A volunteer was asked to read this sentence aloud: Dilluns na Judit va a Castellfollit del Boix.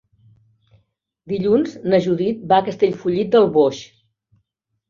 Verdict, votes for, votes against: accepted, 3, 0